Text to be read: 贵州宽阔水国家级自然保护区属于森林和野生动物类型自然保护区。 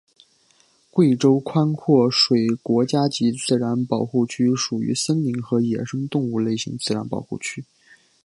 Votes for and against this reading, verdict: 3, 0, accepted